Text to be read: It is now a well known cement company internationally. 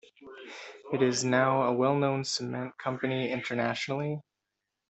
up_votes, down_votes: 2, 1